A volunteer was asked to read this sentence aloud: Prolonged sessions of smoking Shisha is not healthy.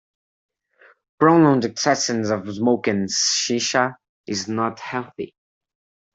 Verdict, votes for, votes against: rejected, 1, 2